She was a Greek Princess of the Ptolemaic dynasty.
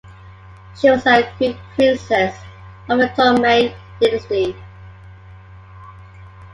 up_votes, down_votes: 2, 0